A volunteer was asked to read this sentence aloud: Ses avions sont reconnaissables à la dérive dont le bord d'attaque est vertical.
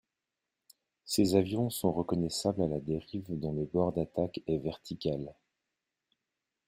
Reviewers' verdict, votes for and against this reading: rejected, 1, 2